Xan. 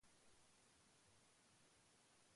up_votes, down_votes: 0, 2